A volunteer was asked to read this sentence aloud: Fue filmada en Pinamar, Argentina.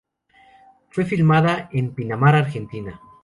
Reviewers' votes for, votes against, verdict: 2, 0, accepted